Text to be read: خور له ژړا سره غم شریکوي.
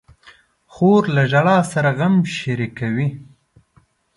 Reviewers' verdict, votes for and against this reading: accepted, 2, 0